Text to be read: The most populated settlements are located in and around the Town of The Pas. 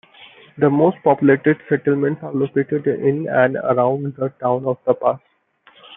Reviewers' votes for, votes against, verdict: 2, 0, accepted